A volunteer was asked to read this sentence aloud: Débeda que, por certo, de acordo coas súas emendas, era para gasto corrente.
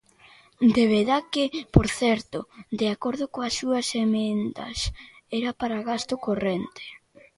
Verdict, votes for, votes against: rejected, 0, 2